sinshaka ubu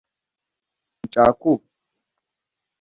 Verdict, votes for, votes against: rejected, 0, 2